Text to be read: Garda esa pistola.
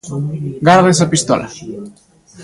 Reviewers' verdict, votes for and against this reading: rejected, 1, 2